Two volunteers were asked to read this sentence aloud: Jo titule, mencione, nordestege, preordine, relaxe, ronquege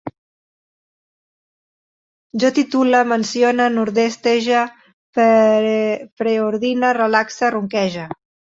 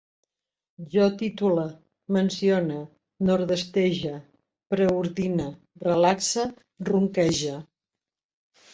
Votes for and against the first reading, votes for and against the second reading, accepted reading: 1, 2, 2, 0, second